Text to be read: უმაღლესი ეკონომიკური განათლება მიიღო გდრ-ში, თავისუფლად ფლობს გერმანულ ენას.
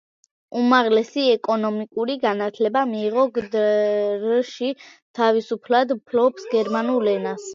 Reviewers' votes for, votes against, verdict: 1, 2, rejected